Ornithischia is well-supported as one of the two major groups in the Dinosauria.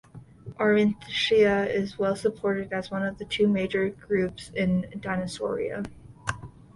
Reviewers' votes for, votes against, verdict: 2, 1, accepted